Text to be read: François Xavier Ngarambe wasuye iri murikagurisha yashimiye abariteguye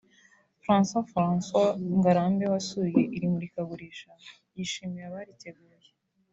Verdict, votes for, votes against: rejected, 0, 2